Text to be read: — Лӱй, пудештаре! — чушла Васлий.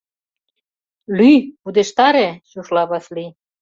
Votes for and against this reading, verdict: 2, 0, accepted